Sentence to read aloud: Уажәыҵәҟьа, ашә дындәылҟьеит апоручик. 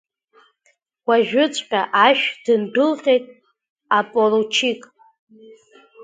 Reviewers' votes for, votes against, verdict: 1, 2, rejected